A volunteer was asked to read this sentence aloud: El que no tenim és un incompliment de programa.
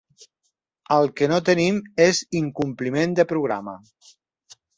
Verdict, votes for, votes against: rejected, 1, 2